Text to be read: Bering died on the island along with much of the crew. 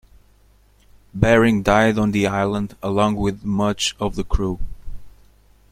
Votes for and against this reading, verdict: 2, 0, accepted